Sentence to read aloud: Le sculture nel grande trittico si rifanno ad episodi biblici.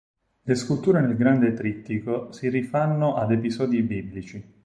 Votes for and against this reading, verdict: 4, 0, accepted